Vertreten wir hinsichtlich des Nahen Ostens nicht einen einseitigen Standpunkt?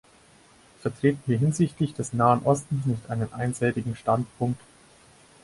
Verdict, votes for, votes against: rejected, 2, 4